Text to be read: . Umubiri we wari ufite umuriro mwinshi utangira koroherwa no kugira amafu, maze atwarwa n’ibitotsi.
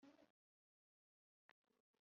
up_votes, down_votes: 0, 3